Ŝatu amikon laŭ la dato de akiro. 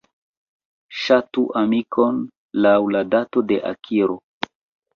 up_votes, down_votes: 2, 1